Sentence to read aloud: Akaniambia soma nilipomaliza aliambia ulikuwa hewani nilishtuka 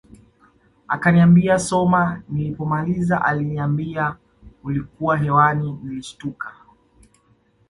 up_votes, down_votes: 2, 0